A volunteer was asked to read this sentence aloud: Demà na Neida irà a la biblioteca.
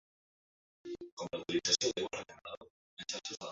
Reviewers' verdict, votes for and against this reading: rejected, 0, 2